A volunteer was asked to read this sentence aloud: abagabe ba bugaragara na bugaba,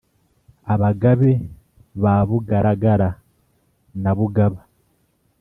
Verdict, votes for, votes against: accepted, 3, 0